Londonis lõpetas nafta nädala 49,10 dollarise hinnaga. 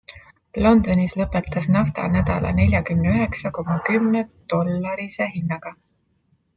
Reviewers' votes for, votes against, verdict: 0, 2, rejected